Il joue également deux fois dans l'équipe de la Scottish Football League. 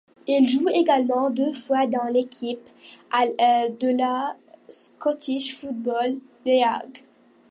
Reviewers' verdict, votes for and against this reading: rejected, 0, 2